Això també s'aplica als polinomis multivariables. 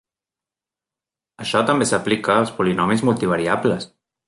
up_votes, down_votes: 3, 0